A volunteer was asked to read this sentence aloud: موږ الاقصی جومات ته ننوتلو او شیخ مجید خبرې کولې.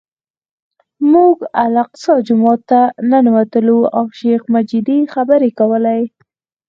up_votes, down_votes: 4, 0